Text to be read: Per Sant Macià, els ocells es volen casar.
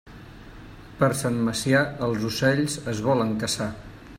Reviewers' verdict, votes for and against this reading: rejected, 0, 2